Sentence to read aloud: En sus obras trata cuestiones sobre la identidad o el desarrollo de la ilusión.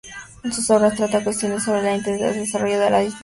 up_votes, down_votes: 0, 2